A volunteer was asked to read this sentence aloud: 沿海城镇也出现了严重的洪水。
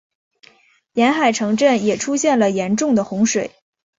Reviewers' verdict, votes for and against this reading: accepted, 2, 0